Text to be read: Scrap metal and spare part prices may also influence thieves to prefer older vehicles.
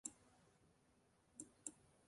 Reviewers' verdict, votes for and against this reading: rejected, 0, 2